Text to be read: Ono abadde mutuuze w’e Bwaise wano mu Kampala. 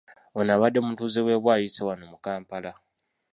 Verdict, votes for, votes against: rejected, 1, 2